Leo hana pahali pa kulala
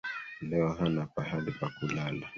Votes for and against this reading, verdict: 1, 2, rejected